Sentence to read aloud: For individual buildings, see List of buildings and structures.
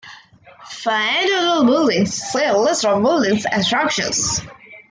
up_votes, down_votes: 0, 2